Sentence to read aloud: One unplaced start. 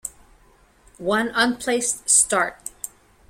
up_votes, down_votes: 2, 0